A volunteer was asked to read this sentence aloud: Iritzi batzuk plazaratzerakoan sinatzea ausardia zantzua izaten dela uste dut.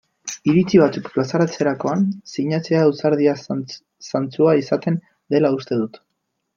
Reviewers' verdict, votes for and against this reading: rejected, 0, 2